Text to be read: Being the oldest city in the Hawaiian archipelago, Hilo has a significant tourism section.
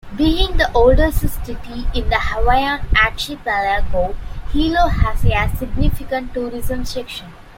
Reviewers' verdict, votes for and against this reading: rejected, 0, 2